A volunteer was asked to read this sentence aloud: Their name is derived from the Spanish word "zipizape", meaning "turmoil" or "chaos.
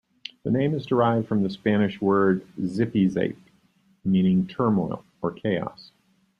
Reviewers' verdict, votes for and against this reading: accepted, 2, 0